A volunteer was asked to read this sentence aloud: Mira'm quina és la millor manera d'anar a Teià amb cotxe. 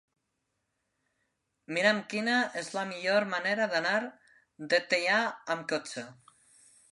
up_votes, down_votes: 0, 2